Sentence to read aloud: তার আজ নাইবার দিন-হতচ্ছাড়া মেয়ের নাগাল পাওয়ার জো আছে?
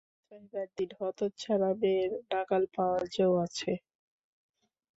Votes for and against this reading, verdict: 0, 2, rejected